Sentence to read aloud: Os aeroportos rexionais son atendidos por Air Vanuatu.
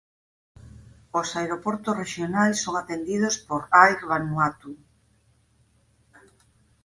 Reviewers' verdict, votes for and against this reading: accepted, 4, 0